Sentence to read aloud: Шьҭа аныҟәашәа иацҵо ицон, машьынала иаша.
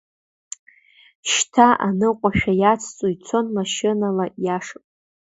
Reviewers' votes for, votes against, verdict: 2, 0, accepted